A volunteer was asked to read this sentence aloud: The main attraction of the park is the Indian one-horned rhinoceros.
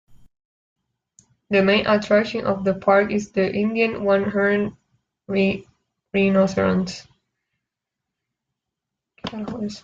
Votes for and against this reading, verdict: 0, 2, rejected